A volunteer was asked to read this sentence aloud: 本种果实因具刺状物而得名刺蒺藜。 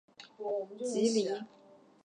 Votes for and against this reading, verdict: 2, 4, rejected